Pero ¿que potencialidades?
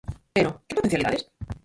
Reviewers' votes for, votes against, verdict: 0, 4, rejected